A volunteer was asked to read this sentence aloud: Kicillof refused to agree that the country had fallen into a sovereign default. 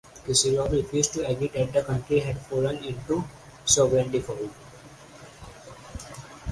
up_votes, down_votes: 0, 4